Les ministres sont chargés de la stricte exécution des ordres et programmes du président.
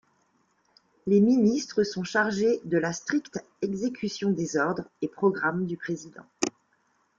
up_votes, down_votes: 2, 0